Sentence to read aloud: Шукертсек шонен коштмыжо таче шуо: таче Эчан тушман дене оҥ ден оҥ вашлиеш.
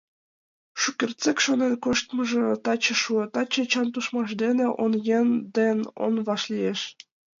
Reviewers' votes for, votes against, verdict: 1, 2, rejected